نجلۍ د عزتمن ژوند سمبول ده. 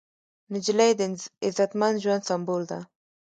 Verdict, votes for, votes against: accepted, 2, 1